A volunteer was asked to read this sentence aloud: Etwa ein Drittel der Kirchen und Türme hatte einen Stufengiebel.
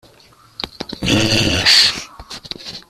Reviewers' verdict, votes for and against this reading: rejected, 0, 2